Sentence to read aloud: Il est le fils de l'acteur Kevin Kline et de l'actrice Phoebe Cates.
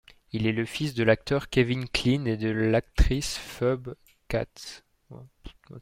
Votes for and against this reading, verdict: 0, 2, rejected